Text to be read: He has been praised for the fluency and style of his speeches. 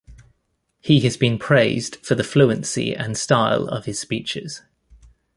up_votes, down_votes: 2, 0